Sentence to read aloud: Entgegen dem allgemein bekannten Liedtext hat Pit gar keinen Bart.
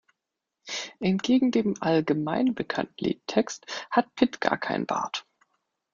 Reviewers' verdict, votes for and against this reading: rejected, 1, 2